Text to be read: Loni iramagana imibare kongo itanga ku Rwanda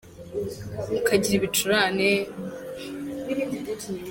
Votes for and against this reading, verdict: 0, 2, rejected